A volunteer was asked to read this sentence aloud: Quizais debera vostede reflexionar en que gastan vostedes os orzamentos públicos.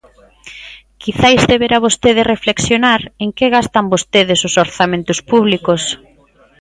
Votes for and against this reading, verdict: 2, 0, accepted